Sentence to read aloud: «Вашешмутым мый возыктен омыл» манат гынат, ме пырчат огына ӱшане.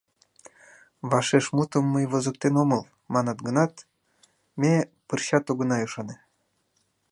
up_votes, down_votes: 2, 0